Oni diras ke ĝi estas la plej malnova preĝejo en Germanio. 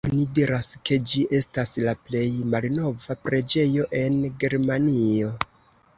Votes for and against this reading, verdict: 2, 0, accepted